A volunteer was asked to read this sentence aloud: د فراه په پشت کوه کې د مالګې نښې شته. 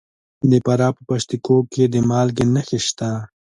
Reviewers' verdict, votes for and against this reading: accepted, 2, 1